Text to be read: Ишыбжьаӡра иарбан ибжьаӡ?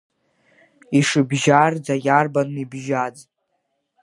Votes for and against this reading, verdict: 1, 2, rejected